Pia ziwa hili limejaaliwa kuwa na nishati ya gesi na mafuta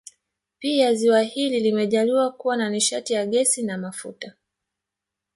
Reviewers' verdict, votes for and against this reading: accepted, 3, 0